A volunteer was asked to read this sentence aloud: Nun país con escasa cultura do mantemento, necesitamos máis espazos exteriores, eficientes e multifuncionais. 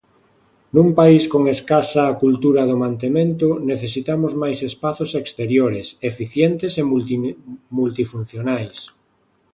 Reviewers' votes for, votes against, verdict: 0, 2, rejected